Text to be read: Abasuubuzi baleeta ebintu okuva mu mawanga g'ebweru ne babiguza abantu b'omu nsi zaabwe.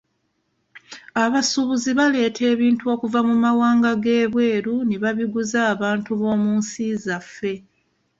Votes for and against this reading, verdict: 0, 2, rejected